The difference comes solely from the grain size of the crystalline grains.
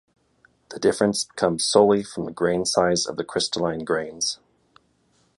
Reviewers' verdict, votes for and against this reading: accepted, 2, 0